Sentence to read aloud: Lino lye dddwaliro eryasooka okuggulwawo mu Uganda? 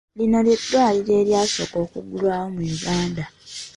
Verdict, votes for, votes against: accepted, 2, 0